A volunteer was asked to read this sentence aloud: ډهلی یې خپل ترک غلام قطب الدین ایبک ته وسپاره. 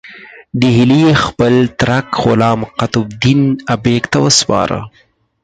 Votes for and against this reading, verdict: 2, 4, rejected